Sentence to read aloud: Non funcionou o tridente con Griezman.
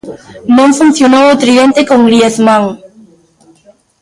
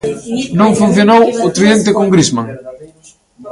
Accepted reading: first